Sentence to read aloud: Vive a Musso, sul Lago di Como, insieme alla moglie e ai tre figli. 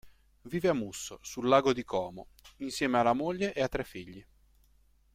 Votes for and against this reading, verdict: 1, 2, rejected